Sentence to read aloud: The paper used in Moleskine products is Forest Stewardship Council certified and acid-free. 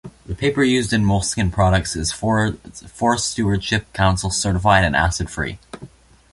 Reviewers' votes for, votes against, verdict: 2, 0, accepted